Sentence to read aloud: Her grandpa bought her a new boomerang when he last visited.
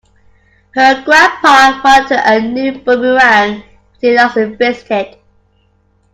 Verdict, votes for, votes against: rejected, 0, 2